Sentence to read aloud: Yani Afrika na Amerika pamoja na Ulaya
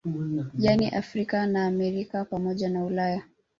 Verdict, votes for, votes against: rejected, 2, 3